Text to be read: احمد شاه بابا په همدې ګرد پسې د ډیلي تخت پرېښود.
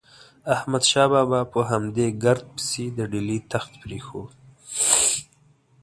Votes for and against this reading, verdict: 2, 0, accepted